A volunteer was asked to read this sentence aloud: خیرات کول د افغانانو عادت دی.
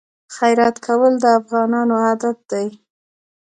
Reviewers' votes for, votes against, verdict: 1, 2, rejected